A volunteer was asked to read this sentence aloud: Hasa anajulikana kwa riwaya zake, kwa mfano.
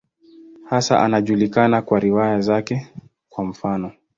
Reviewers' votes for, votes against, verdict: 18, 3, accepted